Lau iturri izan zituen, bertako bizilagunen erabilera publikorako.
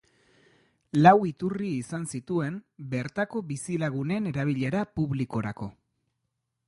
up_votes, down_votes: 2, 0